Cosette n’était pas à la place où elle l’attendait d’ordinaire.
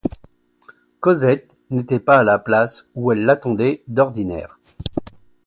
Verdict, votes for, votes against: accepted, 2, 0